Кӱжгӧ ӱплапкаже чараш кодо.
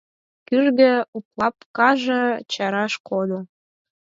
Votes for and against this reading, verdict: 2, 4, rejected